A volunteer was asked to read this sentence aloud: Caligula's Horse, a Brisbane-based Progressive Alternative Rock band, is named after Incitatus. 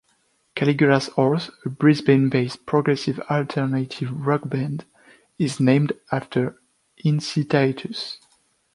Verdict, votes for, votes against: accepted, 2, 0